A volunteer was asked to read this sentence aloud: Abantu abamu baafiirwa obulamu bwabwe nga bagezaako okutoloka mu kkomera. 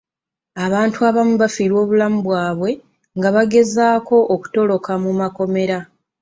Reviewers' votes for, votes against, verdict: 2, 0, accepted